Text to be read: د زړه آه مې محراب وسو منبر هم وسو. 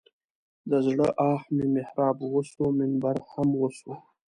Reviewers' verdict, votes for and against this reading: accepted, 2, 0